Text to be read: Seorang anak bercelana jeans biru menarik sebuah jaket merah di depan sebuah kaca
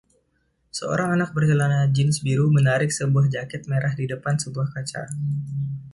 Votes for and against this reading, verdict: 1, 2, rejected